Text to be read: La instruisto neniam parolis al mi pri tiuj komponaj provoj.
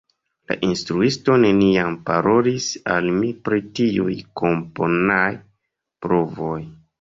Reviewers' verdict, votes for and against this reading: accepted, 2, 1